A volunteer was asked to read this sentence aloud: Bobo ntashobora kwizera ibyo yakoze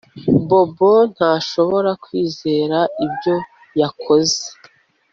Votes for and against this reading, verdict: 2, 0, accepted